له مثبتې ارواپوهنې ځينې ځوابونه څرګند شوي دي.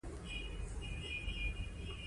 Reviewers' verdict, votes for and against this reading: accepted, 2, 1